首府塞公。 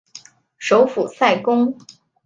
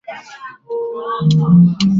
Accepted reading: first